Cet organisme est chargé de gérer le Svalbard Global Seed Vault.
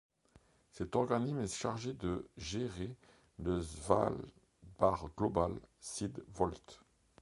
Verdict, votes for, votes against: rejected, 0, 2